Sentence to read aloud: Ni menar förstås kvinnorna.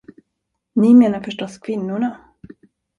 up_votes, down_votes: 2, 0